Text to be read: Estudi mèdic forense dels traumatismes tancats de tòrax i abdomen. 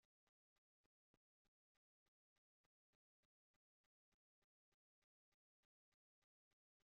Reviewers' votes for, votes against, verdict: 0, 2, rejected